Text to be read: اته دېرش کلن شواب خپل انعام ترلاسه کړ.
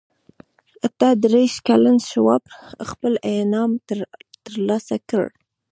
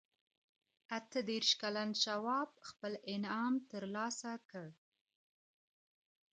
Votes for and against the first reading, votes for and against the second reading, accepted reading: 1, 2, 2, 0, second